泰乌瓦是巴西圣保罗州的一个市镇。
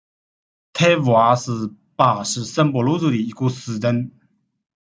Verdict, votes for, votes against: accepted, 2, 1